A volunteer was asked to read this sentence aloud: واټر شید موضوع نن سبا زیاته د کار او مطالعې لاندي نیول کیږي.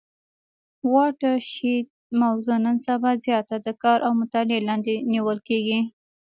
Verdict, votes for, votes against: rejected, 1, 2